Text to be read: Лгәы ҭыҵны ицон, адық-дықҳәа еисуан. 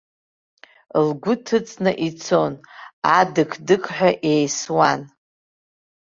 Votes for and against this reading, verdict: 2, 1, accepted